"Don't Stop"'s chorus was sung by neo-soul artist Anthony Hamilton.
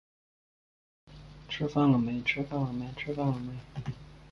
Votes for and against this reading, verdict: 1, 2, rejected